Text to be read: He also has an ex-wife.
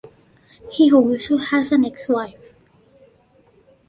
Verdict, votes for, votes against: accepted, 2, 0